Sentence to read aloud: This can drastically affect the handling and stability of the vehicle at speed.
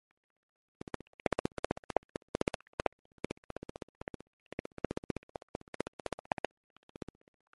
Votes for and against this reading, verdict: 0, 2, rejected